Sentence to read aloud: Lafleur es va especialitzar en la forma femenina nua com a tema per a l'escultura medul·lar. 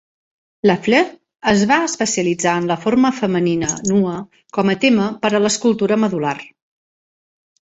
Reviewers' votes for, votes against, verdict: 2, 1, accepted